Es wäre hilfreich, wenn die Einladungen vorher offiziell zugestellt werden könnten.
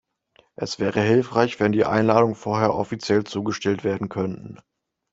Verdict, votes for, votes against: accepted, 2, 0